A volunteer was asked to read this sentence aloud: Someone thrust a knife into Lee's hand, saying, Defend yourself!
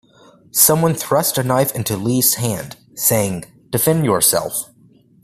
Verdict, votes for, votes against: accepted, 2, 0